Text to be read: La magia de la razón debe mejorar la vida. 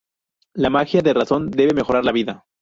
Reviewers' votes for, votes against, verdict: 0, 2, rejected